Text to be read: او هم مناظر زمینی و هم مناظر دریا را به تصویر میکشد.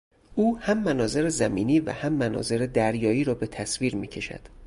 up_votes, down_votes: 2, 2